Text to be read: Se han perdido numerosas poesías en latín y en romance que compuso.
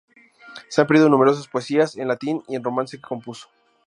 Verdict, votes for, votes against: rejected, 0, 2